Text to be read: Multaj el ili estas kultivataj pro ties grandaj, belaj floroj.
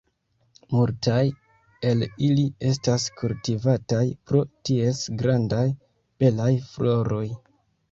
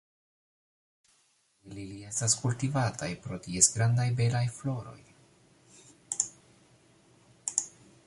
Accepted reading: first